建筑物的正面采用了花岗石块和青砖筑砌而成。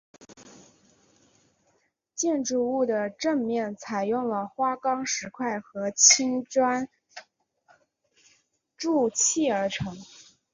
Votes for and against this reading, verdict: 2, 0, accepted